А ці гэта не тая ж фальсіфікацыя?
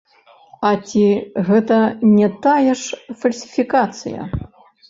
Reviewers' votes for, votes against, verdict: 1, 2, rejected